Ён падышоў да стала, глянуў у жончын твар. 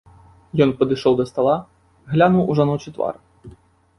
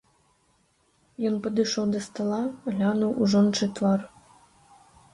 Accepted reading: second